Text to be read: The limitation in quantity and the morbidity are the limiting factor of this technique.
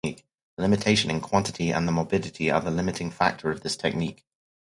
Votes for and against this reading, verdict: 2, 2, rejected